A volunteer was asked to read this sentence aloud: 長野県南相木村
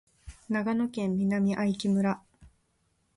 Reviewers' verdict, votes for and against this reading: accepted, 2, 0